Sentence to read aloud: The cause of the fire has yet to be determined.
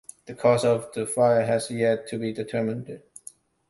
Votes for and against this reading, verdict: 2, 0, accepted